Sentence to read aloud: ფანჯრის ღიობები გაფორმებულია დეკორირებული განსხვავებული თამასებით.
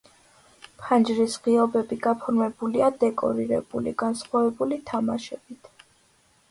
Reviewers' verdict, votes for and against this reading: accepted, 2, 1